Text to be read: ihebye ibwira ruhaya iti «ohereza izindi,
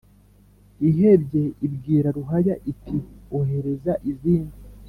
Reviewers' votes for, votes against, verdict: 2, 0, accepted